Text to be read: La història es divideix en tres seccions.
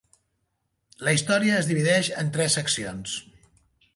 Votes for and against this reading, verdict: 1, 2, rejected